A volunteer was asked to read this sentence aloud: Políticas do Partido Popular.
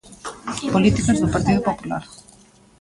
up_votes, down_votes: 1, 2